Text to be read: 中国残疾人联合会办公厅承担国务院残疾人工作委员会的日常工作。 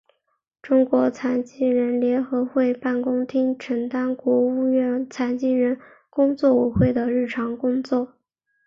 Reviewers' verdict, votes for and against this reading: rejected, 2, 3